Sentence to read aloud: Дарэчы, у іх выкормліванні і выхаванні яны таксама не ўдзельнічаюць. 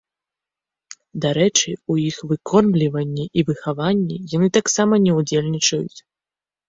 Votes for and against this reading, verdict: 2, 0, accepted